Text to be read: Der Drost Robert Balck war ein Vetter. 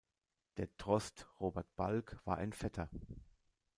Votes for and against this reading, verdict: 0, 2, rejected